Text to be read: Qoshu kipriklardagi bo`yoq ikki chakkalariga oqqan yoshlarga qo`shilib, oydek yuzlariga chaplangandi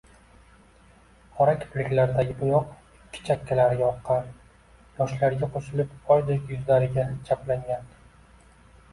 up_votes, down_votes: 1, 2